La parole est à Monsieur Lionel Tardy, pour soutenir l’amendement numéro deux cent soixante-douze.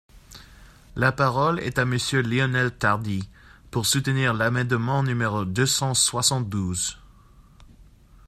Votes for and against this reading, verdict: 0, 2, rejected